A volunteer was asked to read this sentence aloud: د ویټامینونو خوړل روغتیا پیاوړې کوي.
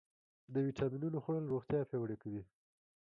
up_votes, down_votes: 2, 1